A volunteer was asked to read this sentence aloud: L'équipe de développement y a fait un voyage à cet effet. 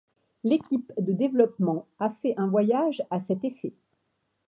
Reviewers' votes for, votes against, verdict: 0, 2, rejected